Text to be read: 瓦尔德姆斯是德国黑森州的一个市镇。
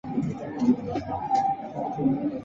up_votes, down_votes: 0, 2